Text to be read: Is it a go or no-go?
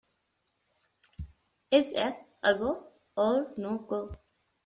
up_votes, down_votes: 2, 0